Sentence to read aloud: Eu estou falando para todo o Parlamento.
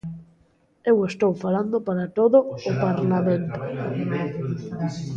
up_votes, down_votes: 1, 2